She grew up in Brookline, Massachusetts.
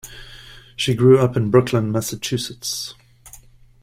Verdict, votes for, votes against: rejected, 1, 2